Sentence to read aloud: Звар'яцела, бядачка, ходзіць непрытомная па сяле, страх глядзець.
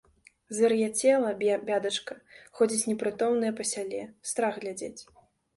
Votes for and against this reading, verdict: 0, 2, rejected